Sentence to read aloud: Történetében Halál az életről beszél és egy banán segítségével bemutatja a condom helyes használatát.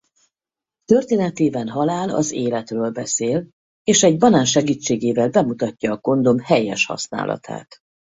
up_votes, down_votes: 2, 2